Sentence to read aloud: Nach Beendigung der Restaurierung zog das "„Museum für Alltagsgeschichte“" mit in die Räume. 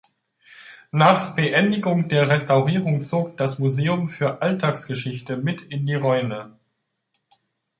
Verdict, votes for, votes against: accepted, 2, 0